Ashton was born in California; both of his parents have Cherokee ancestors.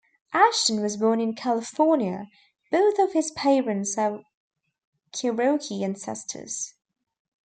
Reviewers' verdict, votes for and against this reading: rejected, 0, 2